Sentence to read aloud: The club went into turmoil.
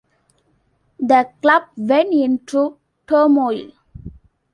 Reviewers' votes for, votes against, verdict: 2, 0, accepted